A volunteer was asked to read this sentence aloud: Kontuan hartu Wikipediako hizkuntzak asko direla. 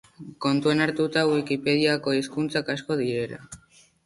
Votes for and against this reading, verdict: 3, 3, rejected